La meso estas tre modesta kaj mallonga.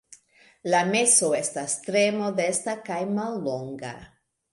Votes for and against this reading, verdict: 2, 0, accepted